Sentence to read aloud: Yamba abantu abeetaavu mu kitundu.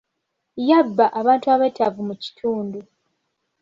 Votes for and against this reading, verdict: 0, 2, rejected